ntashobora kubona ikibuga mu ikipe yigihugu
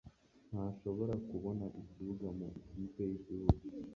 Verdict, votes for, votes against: rejected, 0, 2